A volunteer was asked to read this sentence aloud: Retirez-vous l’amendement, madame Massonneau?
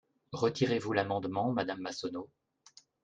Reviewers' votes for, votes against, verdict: 2, 0, accepted